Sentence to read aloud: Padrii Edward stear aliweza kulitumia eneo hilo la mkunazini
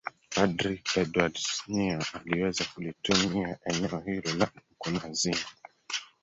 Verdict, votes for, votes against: rejected, 0, 3